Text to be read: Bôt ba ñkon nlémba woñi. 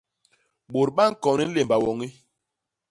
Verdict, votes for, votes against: accepted, 2, 0